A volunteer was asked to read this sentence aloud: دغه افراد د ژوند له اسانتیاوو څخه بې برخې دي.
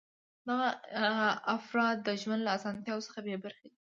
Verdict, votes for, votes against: accepted, 2, 0